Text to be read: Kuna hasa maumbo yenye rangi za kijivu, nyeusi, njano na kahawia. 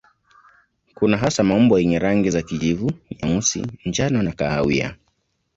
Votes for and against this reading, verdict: 2, 0, accepted